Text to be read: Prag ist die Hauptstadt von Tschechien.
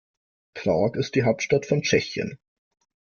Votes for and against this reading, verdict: 2, 0, accepted